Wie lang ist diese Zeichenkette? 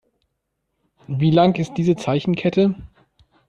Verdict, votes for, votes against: accepted, 2, 0